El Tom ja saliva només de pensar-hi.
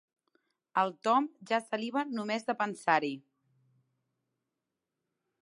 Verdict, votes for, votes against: accepted, 3, 0